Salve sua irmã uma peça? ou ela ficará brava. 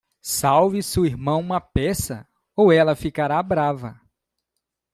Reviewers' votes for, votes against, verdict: 1, 2, rejected